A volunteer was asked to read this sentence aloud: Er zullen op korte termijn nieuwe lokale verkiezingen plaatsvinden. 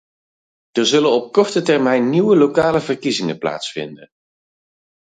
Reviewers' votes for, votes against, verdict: 2, 4, rejected